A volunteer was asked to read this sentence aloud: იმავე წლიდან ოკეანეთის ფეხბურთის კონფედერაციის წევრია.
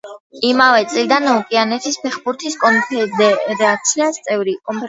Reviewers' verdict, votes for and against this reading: rejected, 0, 2